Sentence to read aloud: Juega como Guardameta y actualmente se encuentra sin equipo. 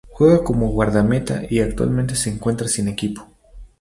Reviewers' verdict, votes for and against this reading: accepted, 4, 0